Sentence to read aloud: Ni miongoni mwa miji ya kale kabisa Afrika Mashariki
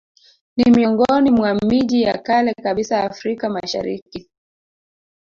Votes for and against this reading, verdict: 1, 2, rejected